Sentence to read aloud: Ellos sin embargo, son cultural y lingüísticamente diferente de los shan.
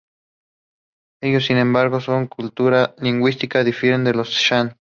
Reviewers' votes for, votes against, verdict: 0, 2, rejected